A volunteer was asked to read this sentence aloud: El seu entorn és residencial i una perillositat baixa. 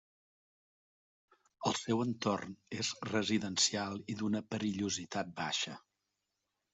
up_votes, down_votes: 1, 2